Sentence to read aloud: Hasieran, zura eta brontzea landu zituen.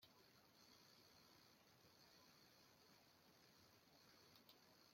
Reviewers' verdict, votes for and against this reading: rejected, 0, 2